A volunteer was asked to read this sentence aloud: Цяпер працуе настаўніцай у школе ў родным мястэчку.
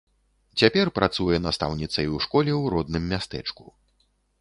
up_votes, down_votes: 2, 0